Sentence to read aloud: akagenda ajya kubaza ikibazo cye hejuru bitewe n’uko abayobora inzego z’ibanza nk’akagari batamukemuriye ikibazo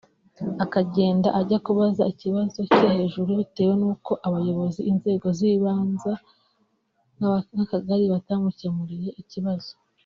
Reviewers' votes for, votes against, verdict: 0, 2, rejected